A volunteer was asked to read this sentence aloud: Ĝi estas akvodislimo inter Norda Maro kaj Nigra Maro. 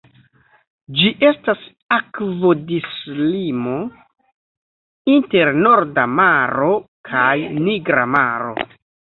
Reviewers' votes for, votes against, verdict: 1, 2, rejected